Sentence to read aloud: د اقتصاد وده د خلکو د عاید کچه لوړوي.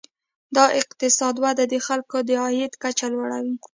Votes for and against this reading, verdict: 2, 0, accepted